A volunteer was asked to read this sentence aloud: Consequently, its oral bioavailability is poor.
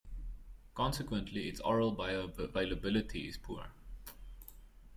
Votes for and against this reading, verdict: 1, 2, rejected